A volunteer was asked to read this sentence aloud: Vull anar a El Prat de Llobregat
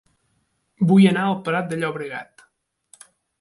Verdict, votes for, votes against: accepted, 2, 0